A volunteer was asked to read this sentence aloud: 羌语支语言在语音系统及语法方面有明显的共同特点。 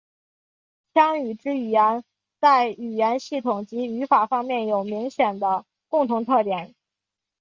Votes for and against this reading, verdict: 5, 0, accepted